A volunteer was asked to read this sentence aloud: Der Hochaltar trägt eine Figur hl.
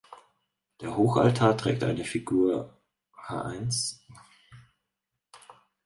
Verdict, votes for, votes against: rejected, 0, 4